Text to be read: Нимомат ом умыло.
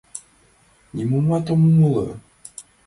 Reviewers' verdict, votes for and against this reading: accepted, 2, 1